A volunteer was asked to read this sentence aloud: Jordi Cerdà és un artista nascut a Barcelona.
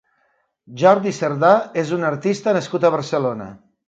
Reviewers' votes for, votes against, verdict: 3, 0, accepted